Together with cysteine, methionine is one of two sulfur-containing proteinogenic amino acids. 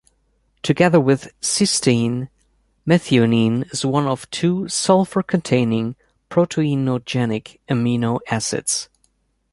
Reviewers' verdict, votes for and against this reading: accepted, 2, 0